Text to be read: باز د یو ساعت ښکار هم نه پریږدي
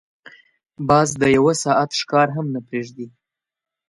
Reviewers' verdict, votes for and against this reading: accepted, 2, 0